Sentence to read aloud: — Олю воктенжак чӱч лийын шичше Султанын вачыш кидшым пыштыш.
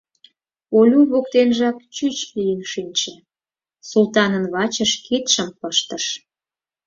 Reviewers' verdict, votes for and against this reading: rejected, 2, 4